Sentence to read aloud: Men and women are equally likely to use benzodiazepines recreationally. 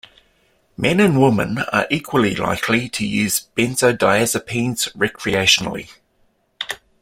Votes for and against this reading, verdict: 2, 0, accepted